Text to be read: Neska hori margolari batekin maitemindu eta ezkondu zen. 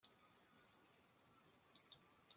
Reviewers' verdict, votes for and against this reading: rejected, 0, 2